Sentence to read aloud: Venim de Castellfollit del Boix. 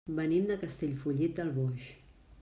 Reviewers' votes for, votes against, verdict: 3, 0, accepted